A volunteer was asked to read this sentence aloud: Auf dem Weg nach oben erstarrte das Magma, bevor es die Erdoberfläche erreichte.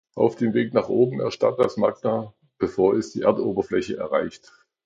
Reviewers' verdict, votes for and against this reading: rejected, 0, 2